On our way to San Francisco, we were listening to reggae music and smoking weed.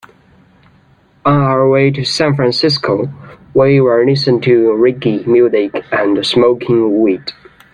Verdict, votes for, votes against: rejected, 1, 2